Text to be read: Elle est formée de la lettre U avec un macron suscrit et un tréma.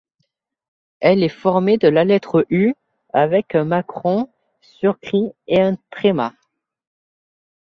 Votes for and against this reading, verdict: 0, 2, rejected